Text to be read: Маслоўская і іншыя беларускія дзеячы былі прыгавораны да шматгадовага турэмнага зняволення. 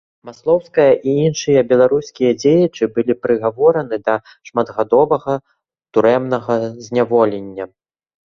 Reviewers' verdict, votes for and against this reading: accepted, 2, 0